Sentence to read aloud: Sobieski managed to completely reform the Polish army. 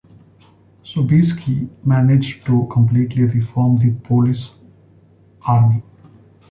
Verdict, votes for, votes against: rejected, 0, 2